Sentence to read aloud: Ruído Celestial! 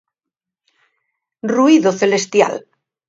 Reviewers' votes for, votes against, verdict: 2, 0, accepted